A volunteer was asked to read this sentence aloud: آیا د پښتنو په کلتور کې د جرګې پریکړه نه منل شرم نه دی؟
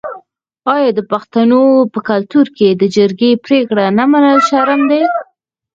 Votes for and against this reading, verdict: 0, 4, rejected